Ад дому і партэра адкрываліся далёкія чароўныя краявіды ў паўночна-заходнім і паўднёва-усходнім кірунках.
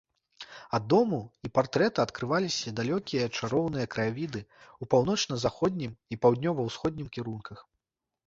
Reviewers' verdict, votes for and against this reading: rejected, 0, 2